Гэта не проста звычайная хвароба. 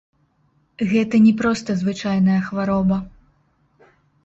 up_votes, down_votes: 1, 2